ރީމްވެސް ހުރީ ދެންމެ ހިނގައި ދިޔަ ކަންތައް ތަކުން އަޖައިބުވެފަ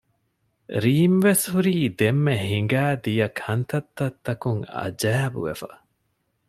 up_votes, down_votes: 1, 2